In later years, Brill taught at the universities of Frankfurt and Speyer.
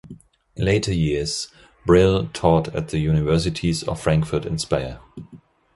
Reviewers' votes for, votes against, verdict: 2, 1, accepted